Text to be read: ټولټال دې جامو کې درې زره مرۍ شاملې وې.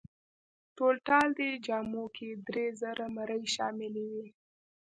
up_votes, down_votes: 2, 0